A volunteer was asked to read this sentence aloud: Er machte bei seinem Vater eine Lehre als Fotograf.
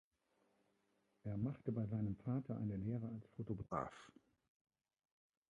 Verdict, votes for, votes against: rejected, 0, 2